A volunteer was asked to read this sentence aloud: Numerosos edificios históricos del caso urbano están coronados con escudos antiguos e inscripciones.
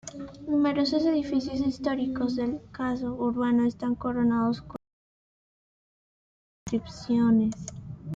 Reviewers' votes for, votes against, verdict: 0, 2, rejected